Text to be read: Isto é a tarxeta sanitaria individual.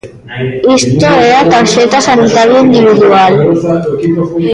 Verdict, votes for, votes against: rejected, 0, 2